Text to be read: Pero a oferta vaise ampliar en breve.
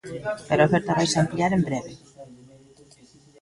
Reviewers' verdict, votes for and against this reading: rejected, 1, 2